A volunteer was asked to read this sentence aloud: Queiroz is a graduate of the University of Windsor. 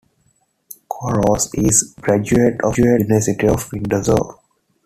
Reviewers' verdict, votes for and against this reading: accepted, 2, 1